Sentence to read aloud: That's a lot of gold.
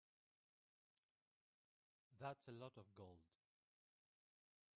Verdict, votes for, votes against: rejected, 0, 3